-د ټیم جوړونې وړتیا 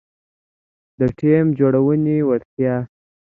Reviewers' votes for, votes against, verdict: 2, 0, accepted